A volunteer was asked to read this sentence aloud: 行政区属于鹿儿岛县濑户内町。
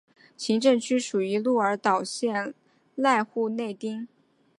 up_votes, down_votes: 6, 0